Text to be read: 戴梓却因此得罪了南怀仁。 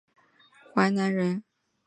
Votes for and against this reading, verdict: 1, 2, rejected